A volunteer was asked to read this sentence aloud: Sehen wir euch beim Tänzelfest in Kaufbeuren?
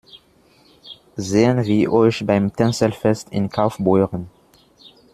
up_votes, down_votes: 1, 2